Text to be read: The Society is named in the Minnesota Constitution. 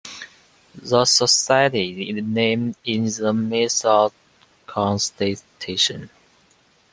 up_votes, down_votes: 1, 2